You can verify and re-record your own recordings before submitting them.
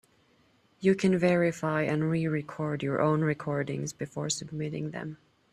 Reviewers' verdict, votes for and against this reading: accepted, 3, 0